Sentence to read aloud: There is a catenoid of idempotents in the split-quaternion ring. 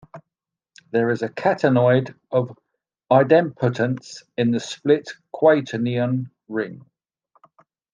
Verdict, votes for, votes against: accepted, 2, 0